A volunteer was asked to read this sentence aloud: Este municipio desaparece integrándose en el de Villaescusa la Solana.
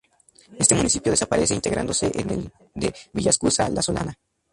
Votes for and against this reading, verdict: 2, 0, accepted